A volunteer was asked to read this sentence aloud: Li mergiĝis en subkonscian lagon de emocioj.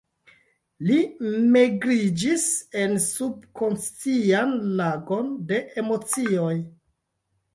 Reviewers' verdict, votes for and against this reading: rejected, 0, 2